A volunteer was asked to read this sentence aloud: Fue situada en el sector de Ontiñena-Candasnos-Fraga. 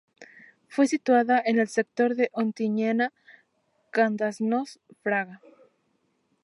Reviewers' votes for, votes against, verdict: 0, 2, rejected